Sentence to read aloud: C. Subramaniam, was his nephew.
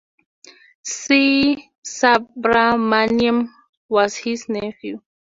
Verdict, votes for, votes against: accepted, 2, 0